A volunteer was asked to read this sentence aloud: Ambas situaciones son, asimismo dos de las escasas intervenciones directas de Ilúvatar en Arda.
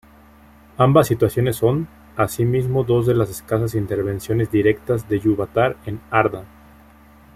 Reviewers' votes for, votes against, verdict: 1, 2, rejected